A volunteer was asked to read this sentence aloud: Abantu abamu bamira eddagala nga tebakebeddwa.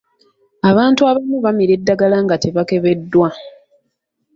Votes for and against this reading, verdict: 2, 0, accepted